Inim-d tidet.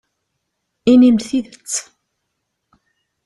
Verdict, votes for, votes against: rejected, 1, 2